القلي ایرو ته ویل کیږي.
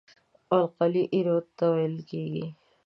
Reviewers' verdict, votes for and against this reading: accepted, 2, 0